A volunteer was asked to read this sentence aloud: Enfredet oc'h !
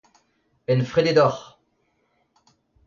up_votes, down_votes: 2, 0